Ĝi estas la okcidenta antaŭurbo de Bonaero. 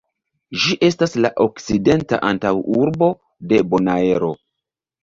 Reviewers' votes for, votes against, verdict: 2, 0, accepted